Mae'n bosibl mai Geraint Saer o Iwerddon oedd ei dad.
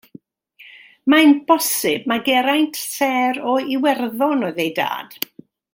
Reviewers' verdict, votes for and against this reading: accepted, 2, 1